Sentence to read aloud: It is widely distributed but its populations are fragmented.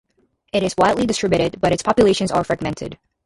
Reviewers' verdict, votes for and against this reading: rejected, 0, 2